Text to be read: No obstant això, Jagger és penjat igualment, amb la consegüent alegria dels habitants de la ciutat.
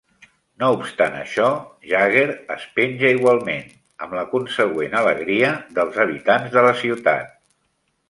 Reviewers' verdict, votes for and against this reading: rejected, 0, 2